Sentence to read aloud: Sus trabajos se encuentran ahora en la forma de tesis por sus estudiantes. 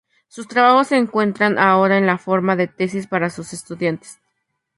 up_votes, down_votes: 0, 4